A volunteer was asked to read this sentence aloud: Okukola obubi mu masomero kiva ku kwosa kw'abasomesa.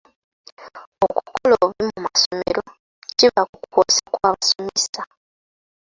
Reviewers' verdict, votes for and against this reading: accepted, 2, 0